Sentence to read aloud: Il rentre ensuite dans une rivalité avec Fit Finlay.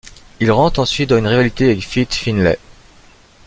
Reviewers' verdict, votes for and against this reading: accepted, 2, 0